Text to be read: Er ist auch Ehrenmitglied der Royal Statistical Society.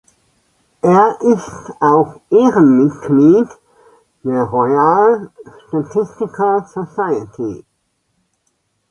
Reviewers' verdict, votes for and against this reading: accepted, 2, 0